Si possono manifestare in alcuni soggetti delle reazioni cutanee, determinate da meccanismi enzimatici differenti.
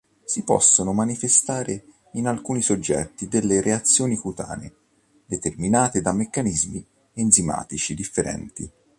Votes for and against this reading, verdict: 2, 0, accepted